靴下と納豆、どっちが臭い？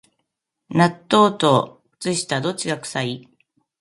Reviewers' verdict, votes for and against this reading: rejected, 0, 2